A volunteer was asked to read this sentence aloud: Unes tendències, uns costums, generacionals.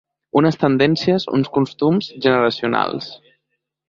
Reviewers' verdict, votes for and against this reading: accepted, 2, 0